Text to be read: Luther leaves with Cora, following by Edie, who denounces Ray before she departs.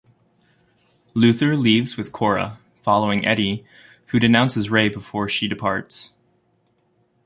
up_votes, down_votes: 2, 3